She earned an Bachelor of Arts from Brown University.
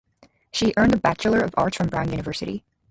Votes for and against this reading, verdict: 2, 0, accepted